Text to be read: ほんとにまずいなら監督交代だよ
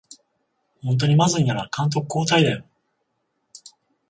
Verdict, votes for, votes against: accepted, 14, 7